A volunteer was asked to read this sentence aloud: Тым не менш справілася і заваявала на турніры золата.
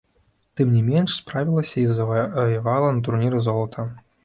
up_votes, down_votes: 1, 2